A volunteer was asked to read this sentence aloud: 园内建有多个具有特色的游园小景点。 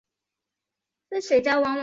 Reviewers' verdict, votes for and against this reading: rejected, 0, 3